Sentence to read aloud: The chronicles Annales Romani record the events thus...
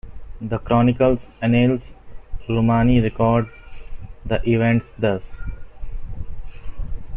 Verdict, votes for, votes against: accepted, 2, 0